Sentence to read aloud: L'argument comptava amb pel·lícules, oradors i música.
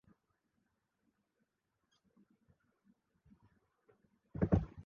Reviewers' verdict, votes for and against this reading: rejected, 0, 2